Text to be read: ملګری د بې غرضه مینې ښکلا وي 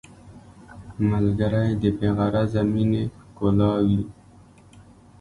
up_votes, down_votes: 2, 0